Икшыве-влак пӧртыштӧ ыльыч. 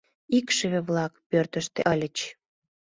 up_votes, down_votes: 2, 0